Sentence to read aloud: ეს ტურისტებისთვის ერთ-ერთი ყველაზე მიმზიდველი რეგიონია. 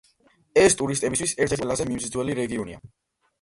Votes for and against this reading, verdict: 2, 0, accepted